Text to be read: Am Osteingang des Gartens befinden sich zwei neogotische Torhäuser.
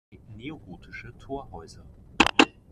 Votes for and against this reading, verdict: 0, 3, rejected